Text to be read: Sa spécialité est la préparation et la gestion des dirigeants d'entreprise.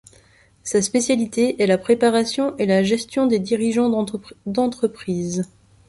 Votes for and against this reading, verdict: 0, 2, rejected